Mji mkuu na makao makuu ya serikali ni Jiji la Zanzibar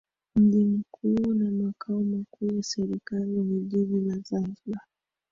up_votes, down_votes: 1, 2